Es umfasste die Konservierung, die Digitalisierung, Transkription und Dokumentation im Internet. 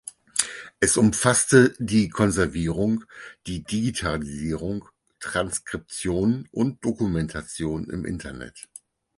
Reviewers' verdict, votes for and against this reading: accepted, 4, 0